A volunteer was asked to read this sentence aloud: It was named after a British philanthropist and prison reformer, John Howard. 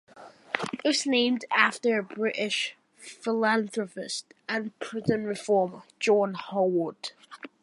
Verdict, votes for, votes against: accepted, 2, 0